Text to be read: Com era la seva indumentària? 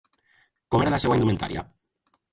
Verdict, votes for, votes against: rejected, 0, 2